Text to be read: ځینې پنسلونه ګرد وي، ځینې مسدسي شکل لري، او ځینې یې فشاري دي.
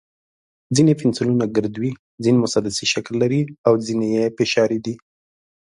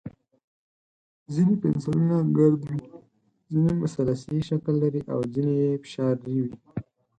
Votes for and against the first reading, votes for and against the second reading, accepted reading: 2, 0, 2, 6, first